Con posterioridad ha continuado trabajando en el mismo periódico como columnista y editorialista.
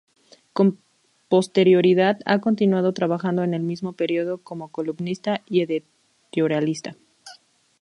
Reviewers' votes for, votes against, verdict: 2, 2, rejected